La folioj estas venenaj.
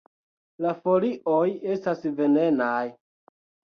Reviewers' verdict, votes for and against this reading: accepted, 2, 0